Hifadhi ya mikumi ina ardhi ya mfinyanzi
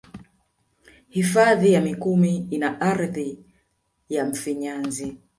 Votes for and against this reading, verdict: 2, 0, accepted